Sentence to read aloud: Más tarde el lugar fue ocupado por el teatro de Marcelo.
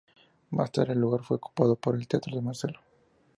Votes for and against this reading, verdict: 2, 0, accepted